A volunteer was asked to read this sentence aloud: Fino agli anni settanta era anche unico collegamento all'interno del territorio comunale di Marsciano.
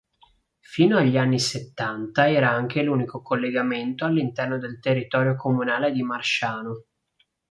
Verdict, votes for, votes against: rejected, 0, 2